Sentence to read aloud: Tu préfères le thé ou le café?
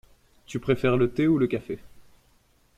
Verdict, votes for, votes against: accepted, 2, 0